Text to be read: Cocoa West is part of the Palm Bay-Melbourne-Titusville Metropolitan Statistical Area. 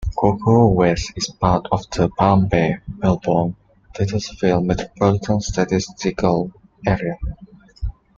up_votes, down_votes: 0, 2